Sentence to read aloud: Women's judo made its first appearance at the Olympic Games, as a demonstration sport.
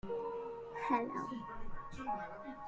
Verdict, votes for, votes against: rejected, 0, 2